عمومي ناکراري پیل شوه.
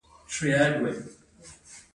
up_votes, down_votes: 0, 2